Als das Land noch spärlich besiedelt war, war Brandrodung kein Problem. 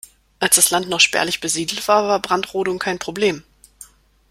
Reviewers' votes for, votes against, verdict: 2, 0, accepted